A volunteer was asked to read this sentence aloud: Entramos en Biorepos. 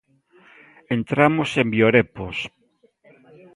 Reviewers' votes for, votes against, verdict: 2, 0, accepted